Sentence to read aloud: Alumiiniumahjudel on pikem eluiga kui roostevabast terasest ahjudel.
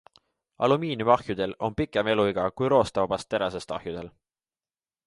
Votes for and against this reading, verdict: 2, 0, accepted